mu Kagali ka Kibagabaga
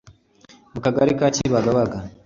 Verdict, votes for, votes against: accepted, 2, 0